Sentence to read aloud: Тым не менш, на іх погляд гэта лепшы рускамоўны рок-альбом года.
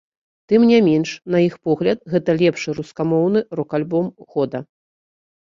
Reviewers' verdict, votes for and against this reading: accepted, 2, 0